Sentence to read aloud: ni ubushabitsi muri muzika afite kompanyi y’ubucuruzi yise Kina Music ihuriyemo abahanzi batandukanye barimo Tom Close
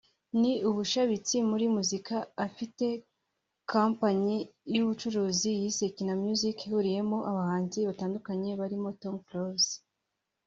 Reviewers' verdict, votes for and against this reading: accepted, 2, 0